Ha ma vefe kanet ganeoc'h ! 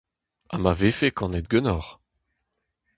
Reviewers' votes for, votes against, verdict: 4, 0, accepted